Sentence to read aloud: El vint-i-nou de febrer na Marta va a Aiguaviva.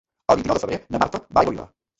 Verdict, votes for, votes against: rejected, 0, 2